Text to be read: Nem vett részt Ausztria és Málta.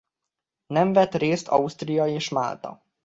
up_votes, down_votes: 2, 0